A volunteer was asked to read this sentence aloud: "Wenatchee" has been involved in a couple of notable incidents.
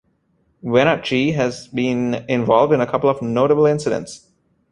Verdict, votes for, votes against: accepted, 2, 0